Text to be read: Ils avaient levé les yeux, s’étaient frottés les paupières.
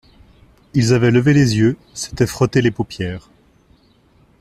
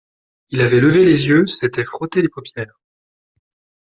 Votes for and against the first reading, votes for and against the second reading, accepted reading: 2, 0, 1, 2, first